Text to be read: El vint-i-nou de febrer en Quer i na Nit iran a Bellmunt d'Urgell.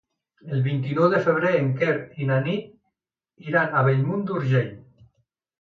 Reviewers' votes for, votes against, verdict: 2, 0, accepted